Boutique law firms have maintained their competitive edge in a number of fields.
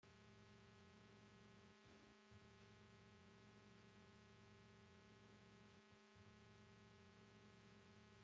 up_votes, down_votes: 0, 2